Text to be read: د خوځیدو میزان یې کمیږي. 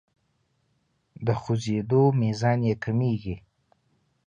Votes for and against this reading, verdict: 2, 0, accepted